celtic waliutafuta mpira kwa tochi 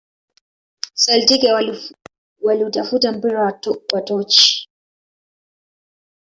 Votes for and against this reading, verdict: 1, 2, rejected